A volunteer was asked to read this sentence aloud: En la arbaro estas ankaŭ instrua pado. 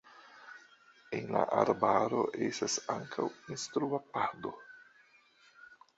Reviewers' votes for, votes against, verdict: 2, 0, accepted